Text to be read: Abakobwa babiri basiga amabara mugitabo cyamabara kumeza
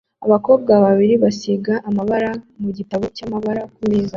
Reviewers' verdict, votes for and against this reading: accepted, 2, 1